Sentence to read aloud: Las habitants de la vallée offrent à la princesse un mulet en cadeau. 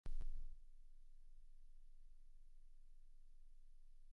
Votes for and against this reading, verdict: 0, 2, rejected